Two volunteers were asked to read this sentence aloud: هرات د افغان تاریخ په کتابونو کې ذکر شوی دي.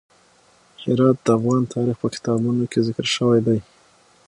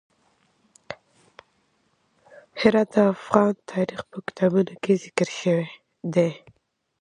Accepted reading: first